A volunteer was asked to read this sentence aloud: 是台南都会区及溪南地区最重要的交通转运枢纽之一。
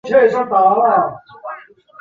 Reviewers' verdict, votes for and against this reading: rejected, 0, 2